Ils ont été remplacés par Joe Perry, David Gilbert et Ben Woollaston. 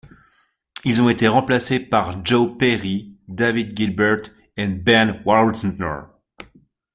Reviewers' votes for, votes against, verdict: 1, 2, rejected